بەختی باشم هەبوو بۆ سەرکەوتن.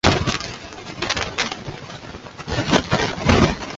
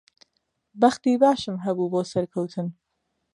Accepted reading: second